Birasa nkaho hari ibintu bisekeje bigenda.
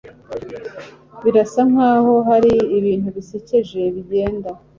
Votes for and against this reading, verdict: 2, 0, accepted